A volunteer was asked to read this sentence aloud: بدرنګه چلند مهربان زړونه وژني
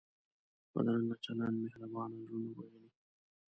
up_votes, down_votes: 1, 2